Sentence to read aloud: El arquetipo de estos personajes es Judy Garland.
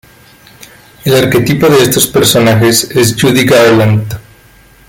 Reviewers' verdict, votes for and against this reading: accepted, 2, 1